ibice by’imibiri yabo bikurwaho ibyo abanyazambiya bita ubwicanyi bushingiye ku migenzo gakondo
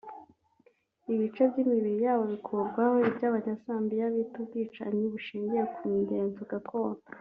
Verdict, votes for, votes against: rejected, 0, 2